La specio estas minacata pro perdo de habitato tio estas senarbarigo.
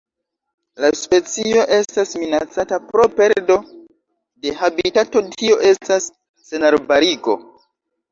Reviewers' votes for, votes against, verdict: 2, 0, accepted